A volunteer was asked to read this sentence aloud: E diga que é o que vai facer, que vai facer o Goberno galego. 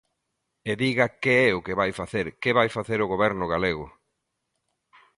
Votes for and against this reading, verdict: 2, 0, accepted